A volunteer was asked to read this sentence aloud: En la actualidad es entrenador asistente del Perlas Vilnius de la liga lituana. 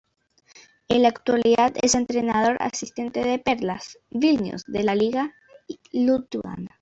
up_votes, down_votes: 0, 2